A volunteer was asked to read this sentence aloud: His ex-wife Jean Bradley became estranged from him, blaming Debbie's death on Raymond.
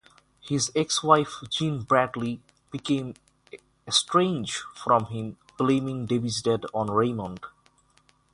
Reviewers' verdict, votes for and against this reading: rejected, 0, 3